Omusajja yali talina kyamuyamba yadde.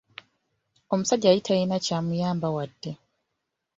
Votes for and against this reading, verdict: 0, 2, rejected